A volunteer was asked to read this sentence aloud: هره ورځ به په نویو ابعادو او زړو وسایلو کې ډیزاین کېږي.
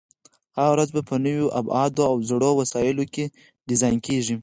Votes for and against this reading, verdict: 2, 4, rejected